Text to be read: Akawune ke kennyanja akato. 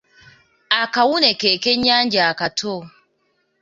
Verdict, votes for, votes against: accepted, 2, 0